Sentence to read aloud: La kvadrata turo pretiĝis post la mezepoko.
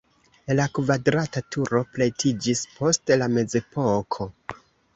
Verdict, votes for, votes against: accepted, 2, 1